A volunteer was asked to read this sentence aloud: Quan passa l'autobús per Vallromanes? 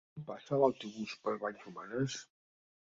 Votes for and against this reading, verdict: 0, 2, rejected